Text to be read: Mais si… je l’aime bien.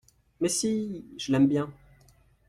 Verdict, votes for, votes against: accepted, 2, 0